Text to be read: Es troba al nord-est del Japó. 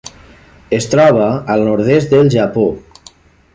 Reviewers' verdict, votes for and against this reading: accepted, 3, 0